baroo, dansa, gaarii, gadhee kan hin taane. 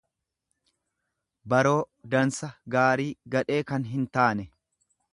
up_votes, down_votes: 2, 0